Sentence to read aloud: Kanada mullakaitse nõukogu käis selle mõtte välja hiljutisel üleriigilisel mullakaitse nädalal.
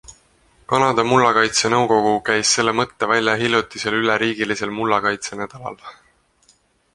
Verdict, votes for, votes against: accepted, 4, 0